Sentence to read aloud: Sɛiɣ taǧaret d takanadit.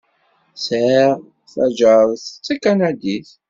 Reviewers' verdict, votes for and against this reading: accepted, 2, 0